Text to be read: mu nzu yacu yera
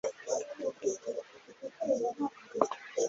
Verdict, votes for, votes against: rejected, 1, 2